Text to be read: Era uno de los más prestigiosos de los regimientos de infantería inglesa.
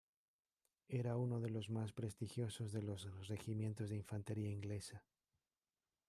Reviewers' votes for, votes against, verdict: 1, 2, rejected